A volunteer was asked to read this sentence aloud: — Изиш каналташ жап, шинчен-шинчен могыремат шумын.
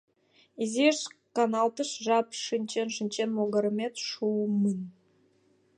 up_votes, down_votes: 2, 1